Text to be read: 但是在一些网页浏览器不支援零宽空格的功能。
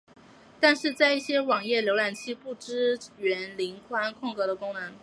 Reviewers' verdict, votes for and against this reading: accepted, 2, 0